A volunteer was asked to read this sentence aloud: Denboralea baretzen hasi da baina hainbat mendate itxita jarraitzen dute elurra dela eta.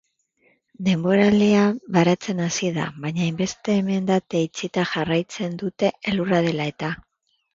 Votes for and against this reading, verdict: 1, 2, rejected